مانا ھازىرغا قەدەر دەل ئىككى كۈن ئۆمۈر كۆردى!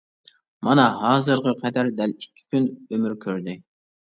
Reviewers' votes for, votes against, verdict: 2, 0, accepted